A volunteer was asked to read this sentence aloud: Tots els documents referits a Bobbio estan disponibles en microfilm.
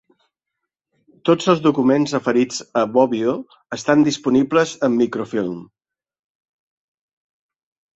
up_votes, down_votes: 2, 0